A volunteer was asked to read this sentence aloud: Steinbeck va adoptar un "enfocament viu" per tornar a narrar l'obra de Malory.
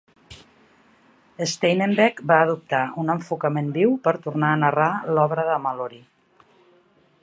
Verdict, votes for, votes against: rejected, 1, 2